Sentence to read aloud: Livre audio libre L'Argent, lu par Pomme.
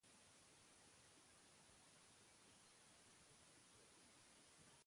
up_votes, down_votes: 0, 2